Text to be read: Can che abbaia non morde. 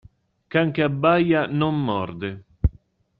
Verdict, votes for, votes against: accepted, 2, 0